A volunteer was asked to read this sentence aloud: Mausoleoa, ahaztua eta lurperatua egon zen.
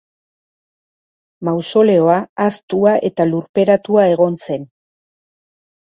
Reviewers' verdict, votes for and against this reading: accepted, 4, 0